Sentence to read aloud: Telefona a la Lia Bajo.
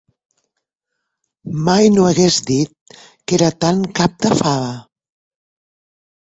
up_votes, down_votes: 1, 2